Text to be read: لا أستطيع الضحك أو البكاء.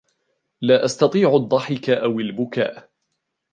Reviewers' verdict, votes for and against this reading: accepted, 2, 1